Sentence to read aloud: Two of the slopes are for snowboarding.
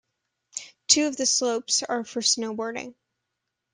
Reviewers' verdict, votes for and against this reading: accepted, 2, 0